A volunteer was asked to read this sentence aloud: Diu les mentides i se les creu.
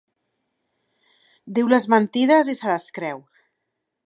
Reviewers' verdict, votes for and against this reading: accepted, 2, 0